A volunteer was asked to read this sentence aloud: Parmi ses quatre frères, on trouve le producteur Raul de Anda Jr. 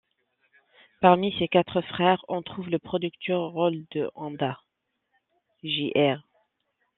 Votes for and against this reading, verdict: 1, 2, rejected